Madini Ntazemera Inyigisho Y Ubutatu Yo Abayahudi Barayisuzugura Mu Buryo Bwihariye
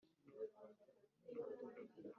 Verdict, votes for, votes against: rejected, 1, 2